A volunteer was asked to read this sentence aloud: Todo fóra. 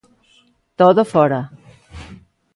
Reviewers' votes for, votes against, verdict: 2, 0, accepted